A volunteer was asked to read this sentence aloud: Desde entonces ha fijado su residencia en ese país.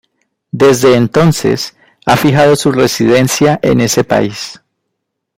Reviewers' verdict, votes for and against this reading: rejected, 1, 2